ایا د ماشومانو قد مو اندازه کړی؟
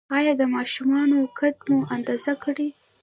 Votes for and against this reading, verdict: 0, 2, rejected